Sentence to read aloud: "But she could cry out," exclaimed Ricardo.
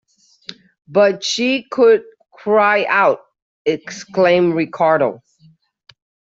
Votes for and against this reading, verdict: 2, 0, accepted